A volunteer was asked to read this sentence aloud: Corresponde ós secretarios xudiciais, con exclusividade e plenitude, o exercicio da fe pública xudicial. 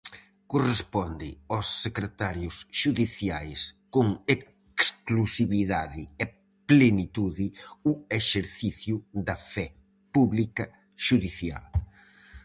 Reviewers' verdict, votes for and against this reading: rejected, 2, 2